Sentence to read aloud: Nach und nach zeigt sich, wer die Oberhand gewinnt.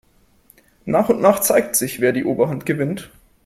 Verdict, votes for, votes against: accepted, 4, 0